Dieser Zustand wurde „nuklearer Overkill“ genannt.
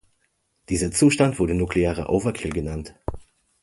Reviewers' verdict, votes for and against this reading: accepted, 2, 0